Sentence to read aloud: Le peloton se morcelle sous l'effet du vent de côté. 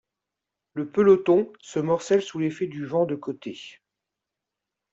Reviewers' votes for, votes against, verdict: 2, 0, accepted